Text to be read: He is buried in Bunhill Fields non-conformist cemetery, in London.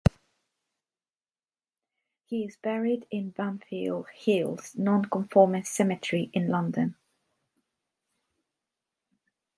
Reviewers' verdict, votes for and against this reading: accepted, 2, 0